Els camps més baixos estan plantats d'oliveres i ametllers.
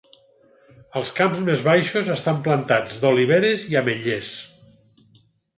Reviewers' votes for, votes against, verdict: 4, 0, accepted